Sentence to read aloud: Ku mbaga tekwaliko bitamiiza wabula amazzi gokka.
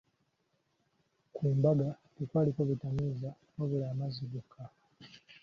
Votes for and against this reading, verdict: 2, 0, accepted